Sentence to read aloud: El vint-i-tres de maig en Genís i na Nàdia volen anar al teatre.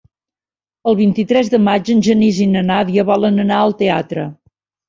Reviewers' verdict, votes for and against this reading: accepted, 3, 0